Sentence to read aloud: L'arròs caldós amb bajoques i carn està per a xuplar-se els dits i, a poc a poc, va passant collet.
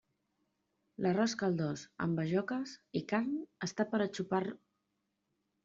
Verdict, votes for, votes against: rejected, 0, 2